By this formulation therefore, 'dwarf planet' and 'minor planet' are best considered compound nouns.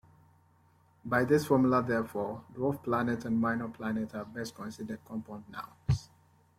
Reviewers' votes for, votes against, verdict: 2, 1, accepted